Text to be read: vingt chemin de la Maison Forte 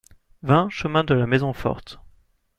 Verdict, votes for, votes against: accepted, 2, 0